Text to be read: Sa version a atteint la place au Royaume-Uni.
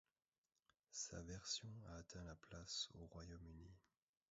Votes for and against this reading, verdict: 1, 2, rejected